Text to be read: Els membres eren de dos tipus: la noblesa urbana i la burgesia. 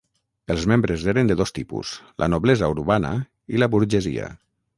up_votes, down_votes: 6, 0